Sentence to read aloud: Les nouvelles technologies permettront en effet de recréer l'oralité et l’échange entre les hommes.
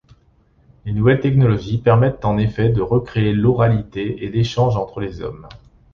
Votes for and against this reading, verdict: 1, 2, rejected